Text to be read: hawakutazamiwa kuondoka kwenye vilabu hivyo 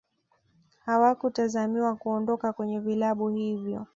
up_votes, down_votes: 2, 0